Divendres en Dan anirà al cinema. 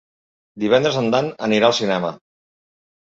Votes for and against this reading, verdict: 3, 0, accepted